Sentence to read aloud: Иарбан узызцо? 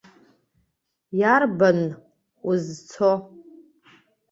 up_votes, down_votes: 0, 2